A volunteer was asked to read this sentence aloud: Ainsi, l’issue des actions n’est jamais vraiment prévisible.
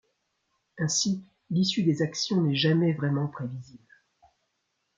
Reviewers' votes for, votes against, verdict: 2, 0, accepted